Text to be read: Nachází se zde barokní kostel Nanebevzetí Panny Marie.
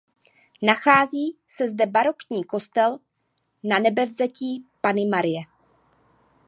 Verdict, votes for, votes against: accepted, 2, 0